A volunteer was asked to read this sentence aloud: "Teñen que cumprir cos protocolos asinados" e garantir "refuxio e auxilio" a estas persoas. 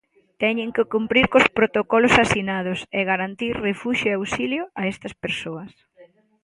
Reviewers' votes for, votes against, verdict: 2, 0, accepted